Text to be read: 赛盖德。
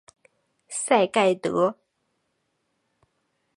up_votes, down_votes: 5, 0